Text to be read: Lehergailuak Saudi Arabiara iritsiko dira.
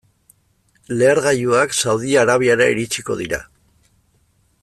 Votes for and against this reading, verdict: 2, 0, accepted